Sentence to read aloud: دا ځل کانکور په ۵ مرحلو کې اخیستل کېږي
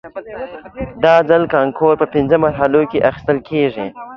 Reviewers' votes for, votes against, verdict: 0, 2, rejected